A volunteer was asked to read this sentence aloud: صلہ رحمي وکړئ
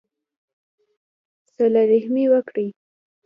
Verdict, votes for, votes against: accepted, 2, 0